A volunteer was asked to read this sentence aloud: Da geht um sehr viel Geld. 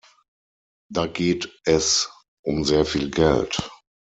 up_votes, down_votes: 0, 6